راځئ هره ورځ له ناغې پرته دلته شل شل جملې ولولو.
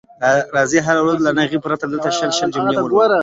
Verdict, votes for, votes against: accepted, 2, 0